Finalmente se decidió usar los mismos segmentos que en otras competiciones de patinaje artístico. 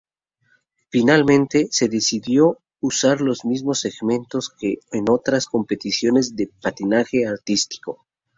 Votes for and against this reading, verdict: 0, 2, rejected